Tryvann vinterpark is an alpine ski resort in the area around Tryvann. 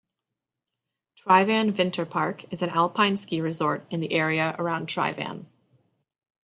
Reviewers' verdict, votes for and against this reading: accepted, 2, 0